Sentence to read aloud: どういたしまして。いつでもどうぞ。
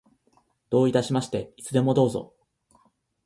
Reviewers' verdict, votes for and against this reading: accepted, 2, 0